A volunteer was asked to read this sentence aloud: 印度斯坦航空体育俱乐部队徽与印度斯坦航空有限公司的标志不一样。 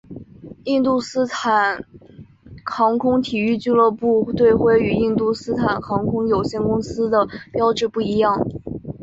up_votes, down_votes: 5, 0